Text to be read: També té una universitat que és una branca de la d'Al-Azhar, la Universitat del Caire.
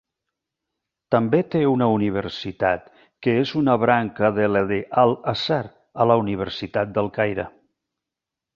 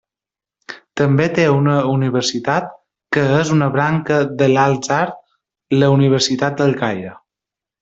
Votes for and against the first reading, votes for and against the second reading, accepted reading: 1, 2, 2, 0, second